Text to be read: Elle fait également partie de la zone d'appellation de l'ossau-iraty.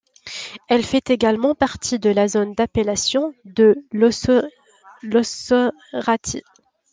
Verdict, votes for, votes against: rejected, 0, 2